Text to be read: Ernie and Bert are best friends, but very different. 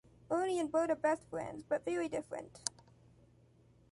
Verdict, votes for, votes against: accepted, 2, 0